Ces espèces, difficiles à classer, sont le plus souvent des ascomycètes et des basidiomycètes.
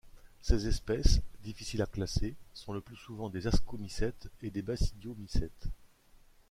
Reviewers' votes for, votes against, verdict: 1, 2, rejected